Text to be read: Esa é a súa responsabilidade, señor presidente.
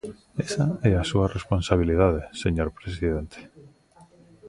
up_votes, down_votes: 1, 2